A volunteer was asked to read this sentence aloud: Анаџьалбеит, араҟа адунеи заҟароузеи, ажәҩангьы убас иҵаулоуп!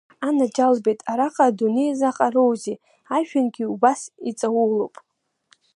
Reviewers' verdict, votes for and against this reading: accepted, 2, 0